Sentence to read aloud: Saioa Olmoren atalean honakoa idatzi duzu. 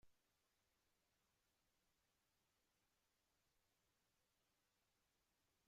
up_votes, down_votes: 0, 2